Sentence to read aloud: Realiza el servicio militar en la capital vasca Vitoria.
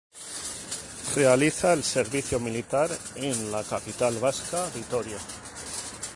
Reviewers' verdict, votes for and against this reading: rejected, 0, 2